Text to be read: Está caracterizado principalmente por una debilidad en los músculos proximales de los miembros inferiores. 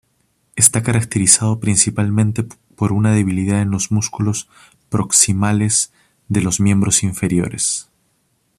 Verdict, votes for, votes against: rejected, 0, 2